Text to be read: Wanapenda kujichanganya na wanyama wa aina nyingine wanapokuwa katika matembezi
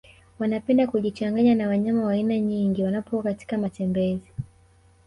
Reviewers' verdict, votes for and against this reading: rejected, 0, 2